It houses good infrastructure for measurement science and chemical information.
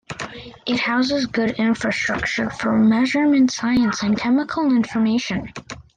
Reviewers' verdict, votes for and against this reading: accepted, 2, 0